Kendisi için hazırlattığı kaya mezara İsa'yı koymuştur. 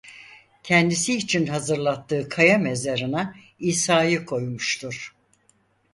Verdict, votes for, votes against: rejected, 0, 4